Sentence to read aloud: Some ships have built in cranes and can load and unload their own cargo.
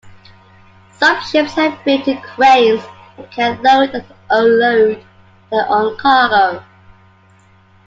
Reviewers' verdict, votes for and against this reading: accepted, 2, 1